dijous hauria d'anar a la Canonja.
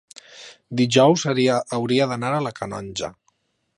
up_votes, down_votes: 0, 2